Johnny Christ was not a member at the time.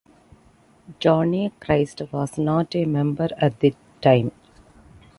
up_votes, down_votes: 2, 0